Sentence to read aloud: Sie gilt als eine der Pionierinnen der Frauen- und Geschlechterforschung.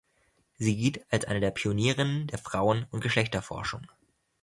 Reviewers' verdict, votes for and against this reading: rejected, 0, 2